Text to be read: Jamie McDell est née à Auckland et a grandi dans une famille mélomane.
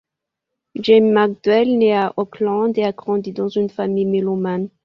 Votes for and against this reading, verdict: 2, 0, accepted